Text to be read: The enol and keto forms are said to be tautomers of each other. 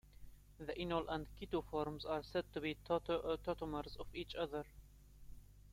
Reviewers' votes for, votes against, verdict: 2, 1, accepted